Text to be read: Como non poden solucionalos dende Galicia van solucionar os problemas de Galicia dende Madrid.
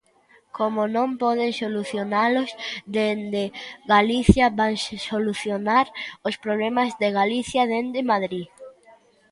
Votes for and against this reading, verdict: 1, 2, rejected